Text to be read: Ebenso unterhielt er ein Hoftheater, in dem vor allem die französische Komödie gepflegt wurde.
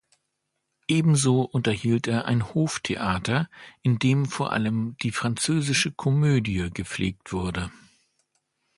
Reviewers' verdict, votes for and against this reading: accepted, 2, 0